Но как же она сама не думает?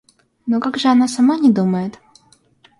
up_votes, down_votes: 2, 0